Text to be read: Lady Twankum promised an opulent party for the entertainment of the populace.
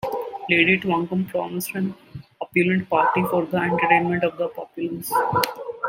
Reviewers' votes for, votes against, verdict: 2, 0, accepted